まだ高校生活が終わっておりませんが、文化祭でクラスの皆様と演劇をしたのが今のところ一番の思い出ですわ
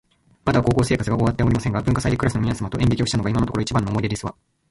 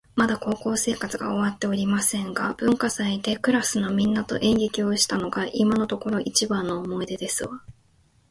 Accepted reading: second